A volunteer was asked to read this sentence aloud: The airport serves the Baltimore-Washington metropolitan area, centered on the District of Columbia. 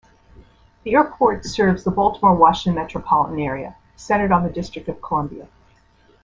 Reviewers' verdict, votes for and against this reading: accepted, 2, 1